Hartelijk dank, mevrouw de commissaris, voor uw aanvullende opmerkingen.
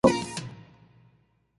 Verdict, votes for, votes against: rejected, 0, 2